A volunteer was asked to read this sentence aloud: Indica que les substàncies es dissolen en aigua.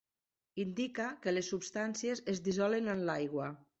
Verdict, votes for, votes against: rejected, 0, 3